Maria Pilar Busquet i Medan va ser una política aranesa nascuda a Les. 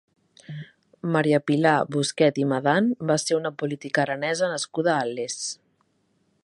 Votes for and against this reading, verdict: 2, 0, accepted